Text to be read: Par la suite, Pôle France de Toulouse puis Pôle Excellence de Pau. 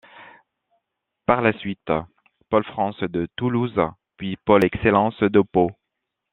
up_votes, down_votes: 2, 0